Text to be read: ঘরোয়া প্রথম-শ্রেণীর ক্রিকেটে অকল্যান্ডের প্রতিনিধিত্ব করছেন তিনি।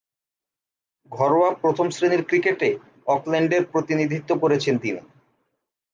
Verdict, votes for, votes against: accepted, 2, 0